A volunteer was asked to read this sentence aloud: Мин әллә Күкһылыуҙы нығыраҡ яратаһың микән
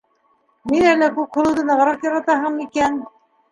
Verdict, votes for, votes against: accepted, 2, 0